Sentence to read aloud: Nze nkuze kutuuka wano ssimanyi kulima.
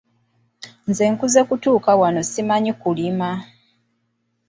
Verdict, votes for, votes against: rejected, 1, 2